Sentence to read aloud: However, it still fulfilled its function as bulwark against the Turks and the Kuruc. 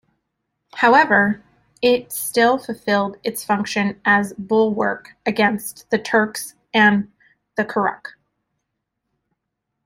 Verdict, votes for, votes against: rejected, 0, 2